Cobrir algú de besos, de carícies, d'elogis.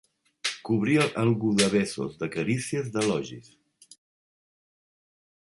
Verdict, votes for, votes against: rejected, 1, 2